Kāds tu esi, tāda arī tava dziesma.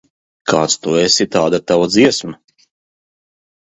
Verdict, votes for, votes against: rejected, 1, 2